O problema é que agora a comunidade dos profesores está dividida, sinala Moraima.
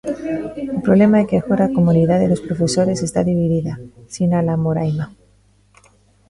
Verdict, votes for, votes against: rejected, 0, 2